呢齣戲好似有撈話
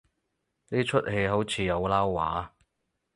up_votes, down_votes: 4, 0